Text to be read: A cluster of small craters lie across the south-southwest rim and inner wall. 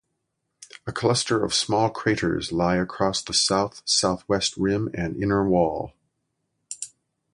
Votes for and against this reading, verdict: 2, 0, accepted